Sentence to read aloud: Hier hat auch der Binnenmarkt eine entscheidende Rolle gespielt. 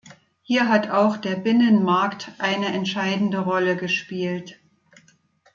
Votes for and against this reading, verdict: 2, 0, accepted